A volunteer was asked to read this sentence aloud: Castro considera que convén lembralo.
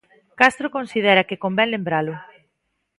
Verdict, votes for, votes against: accepted, 2, 0